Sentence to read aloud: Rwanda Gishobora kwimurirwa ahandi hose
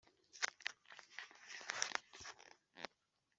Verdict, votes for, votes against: rejected, 1, 2